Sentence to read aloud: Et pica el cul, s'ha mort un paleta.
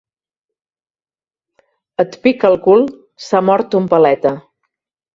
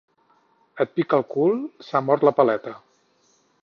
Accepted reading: first